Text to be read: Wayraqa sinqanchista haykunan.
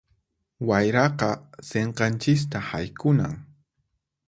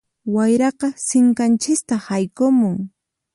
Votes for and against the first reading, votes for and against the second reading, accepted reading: 4, 0, 0, 4, first